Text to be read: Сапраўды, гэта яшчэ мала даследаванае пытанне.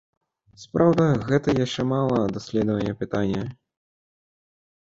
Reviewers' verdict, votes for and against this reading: rejected, 0, 2